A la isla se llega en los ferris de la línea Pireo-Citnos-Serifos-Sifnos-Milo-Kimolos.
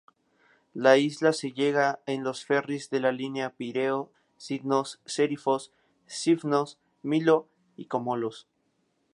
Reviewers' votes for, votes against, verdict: 0, 4, rejected